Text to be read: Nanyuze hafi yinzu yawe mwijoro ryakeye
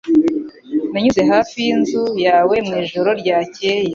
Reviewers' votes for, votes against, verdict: 2, 0, accepted